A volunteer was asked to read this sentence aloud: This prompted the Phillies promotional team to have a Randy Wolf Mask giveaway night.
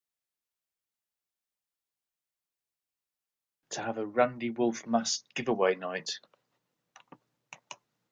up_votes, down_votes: 1, 2